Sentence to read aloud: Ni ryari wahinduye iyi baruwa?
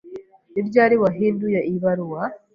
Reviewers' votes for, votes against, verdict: 2, 0, accepted